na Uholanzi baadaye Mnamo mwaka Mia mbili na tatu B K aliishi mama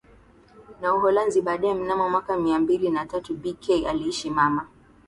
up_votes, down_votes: 2, 0